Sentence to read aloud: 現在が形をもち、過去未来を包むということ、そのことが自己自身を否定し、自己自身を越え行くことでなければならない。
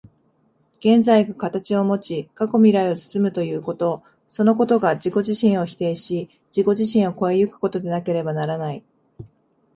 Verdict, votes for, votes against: accepted, 31, 8